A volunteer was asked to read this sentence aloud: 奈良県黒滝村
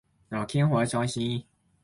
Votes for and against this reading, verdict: 0, 2, rejected